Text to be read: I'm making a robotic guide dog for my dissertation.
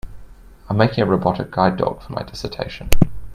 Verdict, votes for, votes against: accepted, 2, 0